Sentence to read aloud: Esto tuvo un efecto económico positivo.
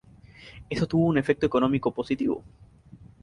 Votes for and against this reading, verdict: 0, 2, rejected